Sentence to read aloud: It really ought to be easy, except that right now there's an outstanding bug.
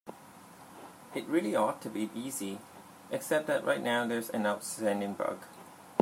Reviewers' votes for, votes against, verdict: 2, 0, accepted